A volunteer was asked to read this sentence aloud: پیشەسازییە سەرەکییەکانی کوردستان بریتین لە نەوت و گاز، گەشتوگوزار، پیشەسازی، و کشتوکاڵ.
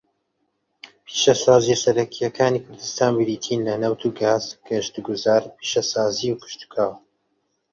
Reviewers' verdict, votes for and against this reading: accepted, 2, 1